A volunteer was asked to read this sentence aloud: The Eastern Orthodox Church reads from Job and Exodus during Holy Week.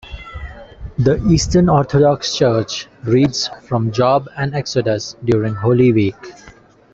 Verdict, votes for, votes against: accepted, 2, 0